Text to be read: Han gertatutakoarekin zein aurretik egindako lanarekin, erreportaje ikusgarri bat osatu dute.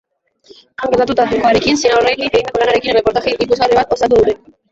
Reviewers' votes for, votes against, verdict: 0, 3, rejected